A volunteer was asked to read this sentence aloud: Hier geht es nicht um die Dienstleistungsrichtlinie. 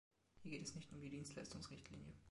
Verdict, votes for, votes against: rejected, 1, 2